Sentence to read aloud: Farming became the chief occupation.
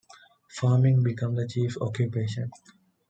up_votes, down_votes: 1, 2